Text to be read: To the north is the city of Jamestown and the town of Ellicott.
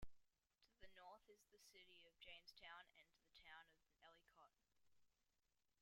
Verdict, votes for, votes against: rejected, 1, 2